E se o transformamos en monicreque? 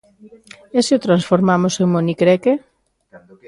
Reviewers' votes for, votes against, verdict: 1, 2, rejected